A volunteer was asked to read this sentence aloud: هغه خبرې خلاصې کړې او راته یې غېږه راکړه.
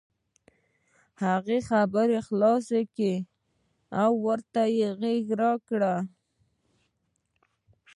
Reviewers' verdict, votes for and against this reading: accepted, 2, 0